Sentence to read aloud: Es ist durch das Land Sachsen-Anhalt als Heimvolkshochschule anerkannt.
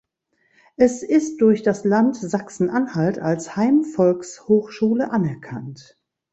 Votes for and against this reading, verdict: 2, 0, accepted